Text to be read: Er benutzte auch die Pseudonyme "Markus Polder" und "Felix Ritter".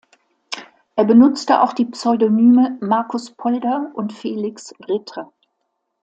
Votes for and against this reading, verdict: 2, 0, accepted